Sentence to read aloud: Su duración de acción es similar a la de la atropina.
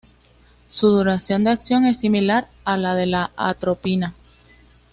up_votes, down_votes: 2, 0